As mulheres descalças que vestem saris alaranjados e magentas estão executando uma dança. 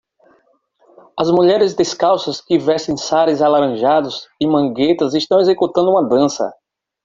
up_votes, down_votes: 0, 2